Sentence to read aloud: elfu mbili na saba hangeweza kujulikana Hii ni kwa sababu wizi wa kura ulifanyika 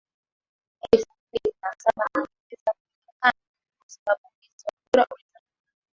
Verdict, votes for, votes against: rejected, 0, 2